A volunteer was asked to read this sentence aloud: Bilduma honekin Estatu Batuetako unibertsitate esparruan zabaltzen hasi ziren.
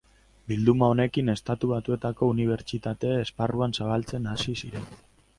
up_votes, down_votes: 4, 0